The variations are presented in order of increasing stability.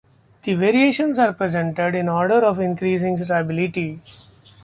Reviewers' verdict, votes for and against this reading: accepted, 2, 0